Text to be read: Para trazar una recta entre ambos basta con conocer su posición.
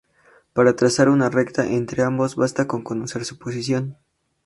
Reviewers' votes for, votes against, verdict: 2, 0, accepted